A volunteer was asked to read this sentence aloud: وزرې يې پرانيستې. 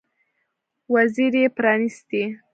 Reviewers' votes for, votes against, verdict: 1, 2, rejected